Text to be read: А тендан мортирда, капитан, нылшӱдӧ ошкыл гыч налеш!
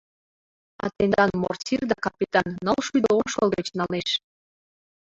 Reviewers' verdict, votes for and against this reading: rejected, 0, 2